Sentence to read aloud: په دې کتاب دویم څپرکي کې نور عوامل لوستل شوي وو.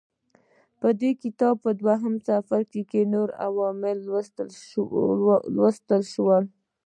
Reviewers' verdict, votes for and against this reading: accepted, 2, 0